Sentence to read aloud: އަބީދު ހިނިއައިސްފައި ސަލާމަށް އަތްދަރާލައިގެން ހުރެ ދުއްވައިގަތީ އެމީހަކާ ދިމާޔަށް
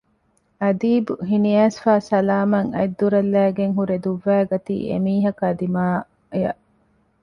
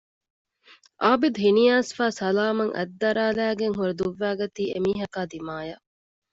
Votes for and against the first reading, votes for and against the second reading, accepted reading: 2, 1, 0, 2, first